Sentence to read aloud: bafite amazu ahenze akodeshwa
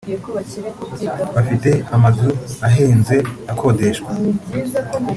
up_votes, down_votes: 2, 0